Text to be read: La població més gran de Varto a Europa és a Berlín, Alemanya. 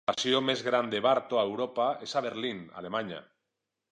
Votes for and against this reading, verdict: 0, 2, rejected